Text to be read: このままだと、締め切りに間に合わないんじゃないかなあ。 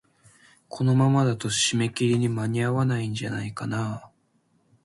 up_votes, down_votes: 2, 0